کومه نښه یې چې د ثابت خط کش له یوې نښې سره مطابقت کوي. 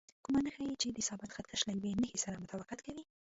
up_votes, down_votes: 1, 2